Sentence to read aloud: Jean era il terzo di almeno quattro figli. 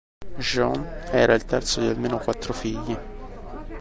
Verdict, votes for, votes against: rejected, 1, 2